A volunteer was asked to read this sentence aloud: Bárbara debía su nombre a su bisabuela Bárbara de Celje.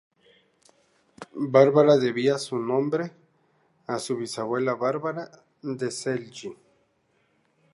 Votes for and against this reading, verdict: 0, 2, rejected